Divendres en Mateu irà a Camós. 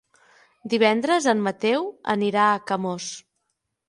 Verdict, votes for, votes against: rejected, 0, 9